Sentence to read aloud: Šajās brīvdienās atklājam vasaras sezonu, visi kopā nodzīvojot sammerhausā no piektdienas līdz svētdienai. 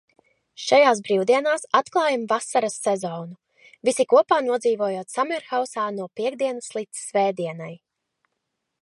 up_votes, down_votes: 2, 0